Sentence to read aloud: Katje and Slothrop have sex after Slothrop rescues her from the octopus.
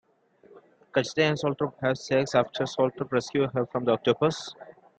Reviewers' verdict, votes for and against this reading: rejected, 1, 2